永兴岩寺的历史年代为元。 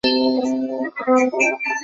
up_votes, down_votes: 0, 2